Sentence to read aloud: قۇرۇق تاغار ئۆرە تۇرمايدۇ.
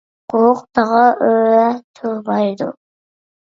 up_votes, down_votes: 1, 2